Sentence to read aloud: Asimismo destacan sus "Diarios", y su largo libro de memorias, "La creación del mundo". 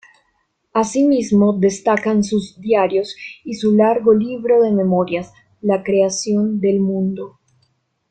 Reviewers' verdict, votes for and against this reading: rejected, 1, 3